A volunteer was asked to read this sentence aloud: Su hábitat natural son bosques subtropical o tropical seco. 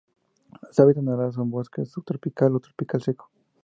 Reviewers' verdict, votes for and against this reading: rejected, 0, 2